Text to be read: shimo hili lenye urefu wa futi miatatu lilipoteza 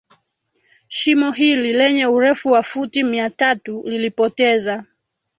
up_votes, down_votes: 1, 2